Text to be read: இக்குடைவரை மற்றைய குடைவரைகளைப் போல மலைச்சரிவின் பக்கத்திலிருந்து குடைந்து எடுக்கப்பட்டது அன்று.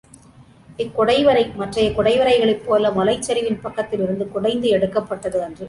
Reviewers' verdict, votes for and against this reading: accepted, 2, 0